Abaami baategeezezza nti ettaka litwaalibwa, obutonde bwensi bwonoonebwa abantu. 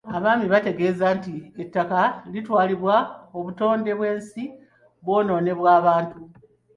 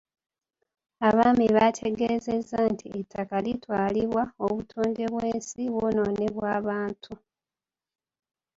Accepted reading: second